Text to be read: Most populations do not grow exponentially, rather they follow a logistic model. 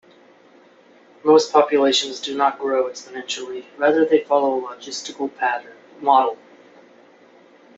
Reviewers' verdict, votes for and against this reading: rejected, 0, 2